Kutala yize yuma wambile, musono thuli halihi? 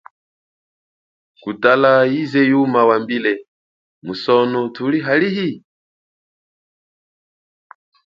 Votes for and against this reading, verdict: 6, 0, accepted